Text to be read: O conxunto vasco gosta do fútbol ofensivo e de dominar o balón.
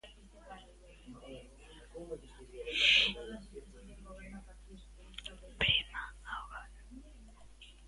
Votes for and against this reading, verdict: 0, 2, rejected